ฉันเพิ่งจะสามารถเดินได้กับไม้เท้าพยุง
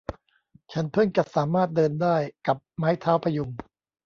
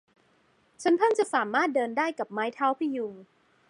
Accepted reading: second